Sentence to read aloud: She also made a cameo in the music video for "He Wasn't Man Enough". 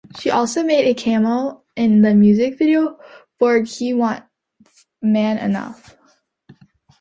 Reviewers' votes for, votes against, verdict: 0, 2, rejected